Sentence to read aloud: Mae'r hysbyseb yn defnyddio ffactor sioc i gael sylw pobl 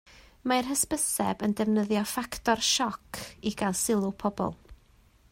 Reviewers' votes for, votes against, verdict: 2, 0, accepted